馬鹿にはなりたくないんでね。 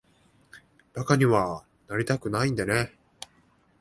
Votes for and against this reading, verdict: 2, 0, accepted